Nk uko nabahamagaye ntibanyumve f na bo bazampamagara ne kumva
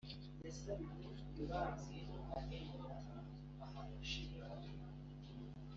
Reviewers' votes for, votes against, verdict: 0, 2, rejected